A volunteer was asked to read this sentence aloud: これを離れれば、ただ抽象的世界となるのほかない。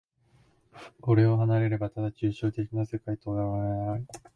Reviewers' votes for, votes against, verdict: 1, 2, rejected